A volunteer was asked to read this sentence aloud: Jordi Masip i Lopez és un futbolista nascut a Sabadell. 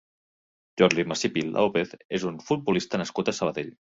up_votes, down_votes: 1, 2